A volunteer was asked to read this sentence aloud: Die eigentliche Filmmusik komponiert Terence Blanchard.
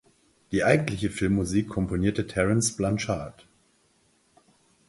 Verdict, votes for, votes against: rejected, 2, 4